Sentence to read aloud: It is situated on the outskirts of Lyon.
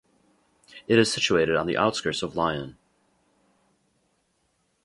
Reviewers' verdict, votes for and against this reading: rejected, 0, 2